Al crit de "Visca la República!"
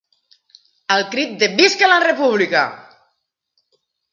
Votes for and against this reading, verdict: 1, 2, rejected